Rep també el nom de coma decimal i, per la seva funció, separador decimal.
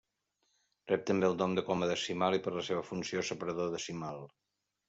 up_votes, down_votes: 0, 2